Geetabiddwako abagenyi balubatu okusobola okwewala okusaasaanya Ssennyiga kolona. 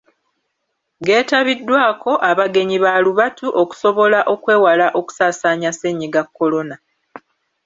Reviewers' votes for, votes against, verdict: 2, 0, accepted